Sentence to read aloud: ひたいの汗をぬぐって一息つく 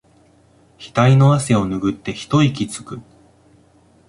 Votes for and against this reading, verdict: 2, 1, accepted